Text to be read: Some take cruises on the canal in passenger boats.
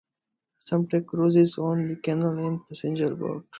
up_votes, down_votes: 1, 2